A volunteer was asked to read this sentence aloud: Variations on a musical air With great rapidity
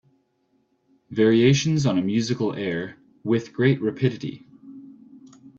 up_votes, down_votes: 2, 0